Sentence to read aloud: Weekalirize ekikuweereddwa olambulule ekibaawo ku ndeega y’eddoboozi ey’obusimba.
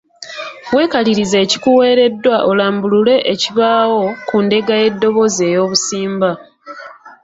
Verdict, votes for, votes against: accepted, 2, 0